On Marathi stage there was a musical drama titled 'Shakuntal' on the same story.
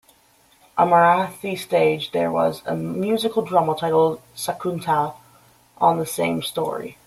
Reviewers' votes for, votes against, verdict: 0, 2, rejected